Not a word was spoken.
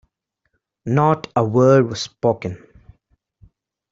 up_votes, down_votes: 2, 0